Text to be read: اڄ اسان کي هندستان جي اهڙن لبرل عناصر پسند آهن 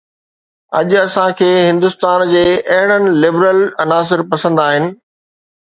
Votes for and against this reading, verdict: 2, 1, accepted